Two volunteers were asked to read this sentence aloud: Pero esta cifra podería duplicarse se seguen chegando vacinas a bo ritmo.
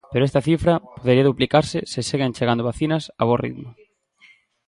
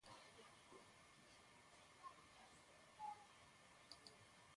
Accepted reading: first